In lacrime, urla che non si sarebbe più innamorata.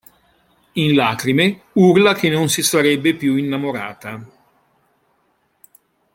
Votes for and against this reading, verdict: 2, 0, accepted